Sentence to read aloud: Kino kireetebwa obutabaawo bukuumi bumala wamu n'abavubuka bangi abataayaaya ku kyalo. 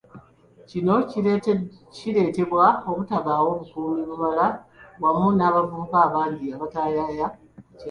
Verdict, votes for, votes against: rejected, 1, 3